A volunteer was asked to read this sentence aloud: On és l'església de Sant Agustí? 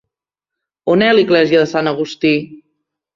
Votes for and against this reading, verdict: 0, 3, rejected